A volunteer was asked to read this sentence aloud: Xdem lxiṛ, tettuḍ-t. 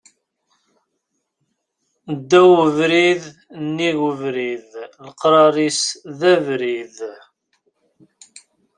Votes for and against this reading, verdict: 0, 2, rejected